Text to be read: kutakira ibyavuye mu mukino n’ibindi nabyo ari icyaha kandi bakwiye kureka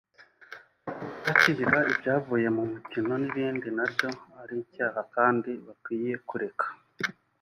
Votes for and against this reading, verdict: 0, 2, rejected